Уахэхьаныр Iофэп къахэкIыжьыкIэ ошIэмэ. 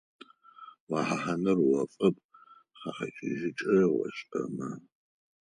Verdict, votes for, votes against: rejected, 0, 4